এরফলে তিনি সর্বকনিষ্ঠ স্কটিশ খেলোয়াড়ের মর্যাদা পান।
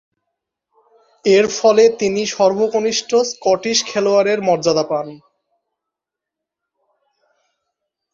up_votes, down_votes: 2, 0